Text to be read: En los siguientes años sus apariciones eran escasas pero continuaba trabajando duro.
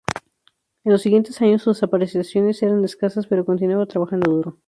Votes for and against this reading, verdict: 0, 2, rejected